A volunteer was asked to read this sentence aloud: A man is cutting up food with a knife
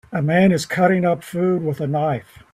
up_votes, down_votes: 2, 1